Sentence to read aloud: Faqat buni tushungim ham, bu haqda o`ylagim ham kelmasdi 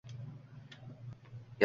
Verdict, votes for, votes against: rejected, 1, 2